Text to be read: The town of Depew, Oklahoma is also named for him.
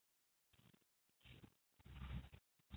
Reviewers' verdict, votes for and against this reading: rejected, 0, 2